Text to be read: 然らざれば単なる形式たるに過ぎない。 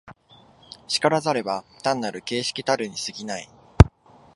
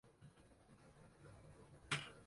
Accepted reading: first